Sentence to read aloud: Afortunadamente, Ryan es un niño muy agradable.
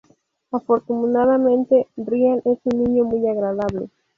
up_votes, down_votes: 2, 2